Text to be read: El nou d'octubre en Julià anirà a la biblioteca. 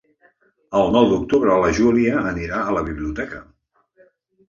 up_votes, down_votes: 0, 2